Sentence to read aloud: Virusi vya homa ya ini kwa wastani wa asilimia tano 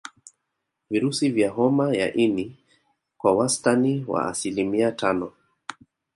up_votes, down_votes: 1, 2